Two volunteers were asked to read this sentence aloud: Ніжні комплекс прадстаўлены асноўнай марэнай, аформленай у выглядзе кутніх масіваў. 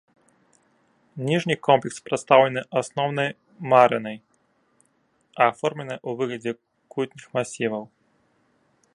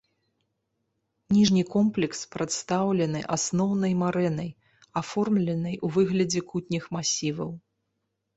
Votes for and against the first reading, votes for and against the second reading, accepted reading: 0, 2, 2, 0, second